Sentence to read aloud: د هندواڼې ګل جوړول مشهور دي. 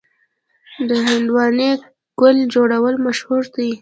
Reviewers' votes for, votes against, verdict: 2, 0, accepted